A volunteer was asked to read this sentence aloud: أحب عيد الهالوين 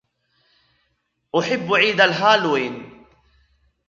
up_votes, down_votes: 1, 2